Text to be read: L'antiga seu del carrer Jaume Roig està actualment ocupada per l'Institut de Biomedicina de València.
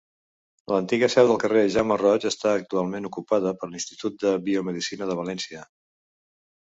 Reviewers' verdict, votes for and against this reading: accepted, 2, 0